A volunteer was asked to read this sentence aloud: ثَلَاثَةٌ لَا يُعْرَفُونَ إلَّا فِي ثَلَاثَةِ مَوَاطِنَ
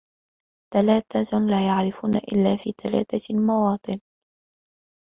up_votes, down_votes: 2, 0